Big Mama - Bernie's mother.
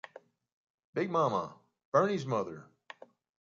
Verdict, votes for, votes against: accepted, 2, 0